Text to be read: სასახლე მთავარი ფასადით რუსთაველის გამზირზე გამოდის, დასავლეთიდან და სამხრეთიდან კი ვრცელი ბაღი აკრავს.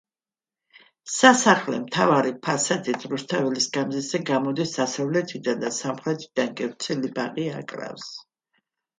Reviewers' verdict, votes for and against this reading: accepted, 2, 0